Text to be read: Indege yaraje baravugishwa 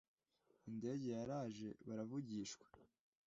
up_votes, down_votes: 2, 0